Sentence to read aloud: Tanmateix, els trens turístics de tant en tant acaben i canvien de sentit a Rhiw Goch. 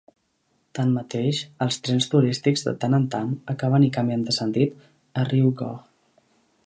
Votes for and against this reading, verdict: 0, 2, rejected